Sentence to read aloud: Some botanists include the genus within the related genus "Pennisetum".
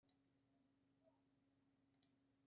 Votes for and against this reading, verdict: 0, 2, rejected